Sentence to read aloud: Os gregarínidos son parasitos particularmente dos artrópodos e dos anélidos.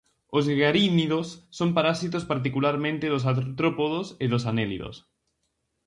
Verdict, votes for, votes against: rejected, 2, 2